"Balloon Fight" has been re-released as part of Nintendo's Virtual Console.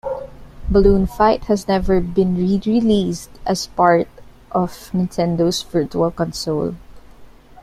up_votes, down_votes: 1, 2